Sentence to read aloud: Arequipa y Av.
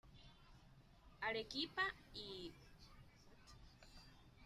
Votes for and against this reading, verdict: 2, 1, accepted